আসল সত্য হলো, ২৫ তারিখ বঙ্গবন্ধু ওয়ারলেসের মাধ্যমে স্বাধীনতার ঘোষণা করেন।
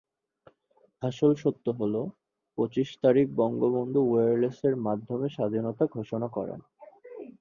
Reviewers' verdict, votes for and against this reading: rejected, 0, 2